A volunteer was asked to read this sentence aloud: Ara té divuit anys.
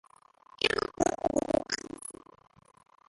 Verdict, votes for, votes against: rejected, 0, 2